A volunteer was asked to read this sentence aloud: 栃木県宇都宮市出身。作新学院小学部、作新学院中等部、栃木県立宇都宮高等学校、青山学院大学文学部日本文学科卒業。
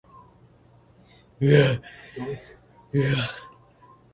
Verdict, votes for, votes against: rejected, 0, 2